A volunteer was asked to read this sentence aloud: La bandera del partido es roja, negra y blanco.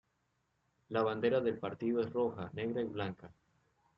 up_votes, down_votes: 0, 2